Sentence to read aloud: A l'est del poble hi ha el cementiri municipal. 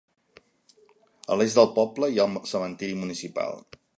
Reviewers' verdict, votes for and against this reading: rejected, 1, 2